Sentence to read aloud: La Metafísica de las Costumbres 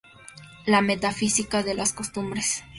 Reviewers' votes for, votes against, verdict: 0, 2, rejected